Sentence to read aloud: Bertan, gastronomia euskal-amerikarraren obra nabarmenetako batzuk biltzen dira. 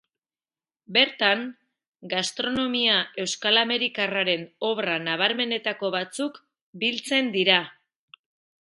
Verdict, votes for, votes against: accepted, 2, 0